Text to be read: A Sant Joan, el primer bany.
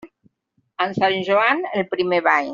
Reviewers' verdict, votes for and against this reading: rejected, 1, 2